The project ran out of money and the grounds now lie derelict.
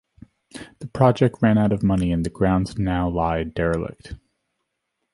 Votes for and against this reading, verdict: 2, 0, accepted